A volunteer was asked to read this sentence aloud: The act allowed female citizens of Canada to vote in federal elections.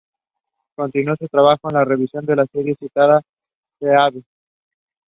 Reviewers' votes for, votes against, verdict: 0, 2, rejected